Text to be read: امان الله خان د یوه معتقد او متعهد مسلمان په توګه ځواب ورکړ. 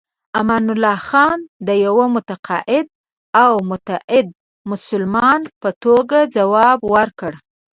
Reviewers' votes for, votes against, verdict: 0, 2, rejected